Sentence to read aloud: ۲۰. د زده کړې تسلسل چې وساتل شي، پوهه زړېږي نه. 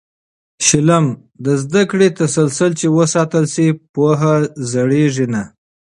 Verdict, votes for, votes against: rejected, 0, 2